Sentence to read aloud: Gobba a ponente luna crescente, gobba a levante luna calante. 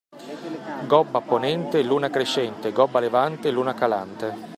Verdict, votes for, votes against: accepted, 2, 0